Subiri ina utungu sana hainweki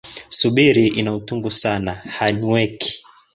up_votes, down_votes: 2, 0